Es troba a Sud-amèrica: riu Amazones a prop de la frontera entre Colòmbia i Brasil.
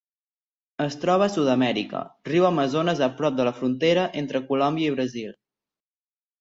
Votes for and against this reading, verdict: 4, 0, accepted